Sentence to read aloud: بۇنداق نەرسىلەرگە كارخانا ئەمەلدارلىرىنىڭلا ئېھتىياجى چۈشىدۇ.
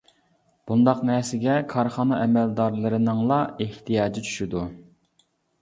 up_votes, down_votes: 1, 2